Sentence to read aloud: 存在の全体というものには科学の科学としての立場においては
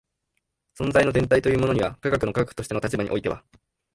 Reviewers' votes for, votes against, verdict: 0, 2, rejected